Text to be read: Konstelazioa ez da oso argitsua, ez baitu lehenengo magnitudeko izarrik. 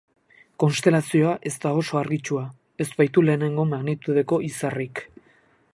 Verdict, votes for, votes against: accepted, 8, 0